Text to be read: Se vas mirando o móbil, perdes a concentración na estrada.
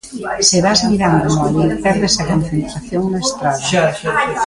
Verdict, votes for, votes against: rejected, 0, 2